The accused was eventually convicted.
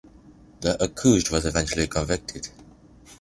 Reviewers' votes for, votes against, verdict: 1, 2, rejected